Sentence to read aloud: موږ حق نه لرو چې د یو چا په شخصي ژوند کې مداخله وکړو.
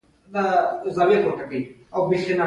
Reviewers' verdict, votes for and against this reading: rejected, 1, 2